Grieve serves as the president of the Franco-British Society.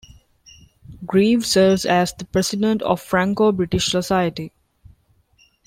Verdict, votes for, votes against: rejected, 1, 2